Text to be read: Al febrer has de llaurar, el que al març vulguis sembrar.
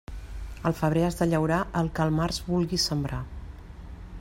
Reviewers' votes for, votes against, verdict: 2, 0, accepted